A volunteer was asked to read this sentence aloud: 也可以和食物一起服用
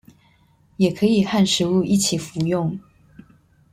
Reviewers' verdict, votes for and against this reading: accepted, 2, 0